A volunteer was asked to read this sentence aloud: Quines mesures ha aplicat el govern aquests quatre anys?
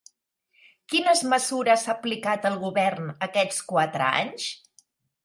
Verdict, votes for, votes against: rejected, 1, 2